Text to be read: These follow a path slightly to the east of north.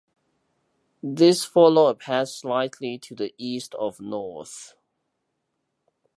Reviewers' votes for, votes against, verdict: 1, 2, rejected